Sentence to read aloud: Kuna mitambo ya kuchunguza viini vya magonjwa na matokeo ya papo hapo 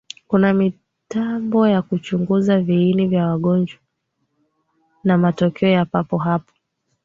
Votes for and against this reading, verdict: 1, 2, rejected